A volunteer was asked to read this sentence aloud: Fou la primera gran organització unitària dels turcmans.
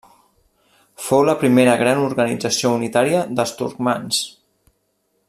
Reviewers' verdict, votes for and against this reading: accepted, 2, 0